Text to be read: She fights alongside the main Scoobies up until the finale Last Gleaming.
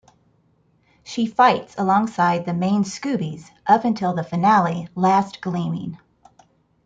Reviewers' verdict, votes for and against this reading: accepted, 2, 0